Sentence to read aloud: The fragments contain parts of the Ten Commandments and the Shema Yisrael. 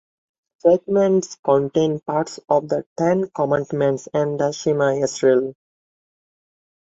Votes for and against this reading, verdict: 0, 2, rejected